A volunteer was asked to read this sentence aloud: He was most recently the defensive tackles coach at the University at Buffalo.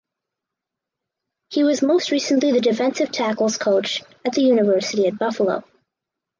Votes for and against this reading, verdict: 4, 0, accepted